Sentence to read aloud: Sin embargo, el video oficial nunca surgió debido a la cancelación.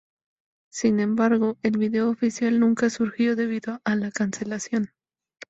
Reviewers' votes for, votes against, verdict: 2, 0, accepted